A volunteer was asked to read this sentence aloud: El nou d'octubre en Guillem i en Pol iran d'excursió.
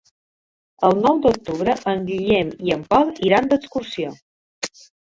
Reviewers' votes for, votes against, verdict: 4, 0, accepted